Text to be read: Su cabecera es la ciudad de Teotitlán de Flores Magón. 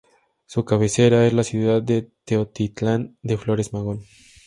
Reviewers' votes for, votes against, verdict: 4, 0, accepted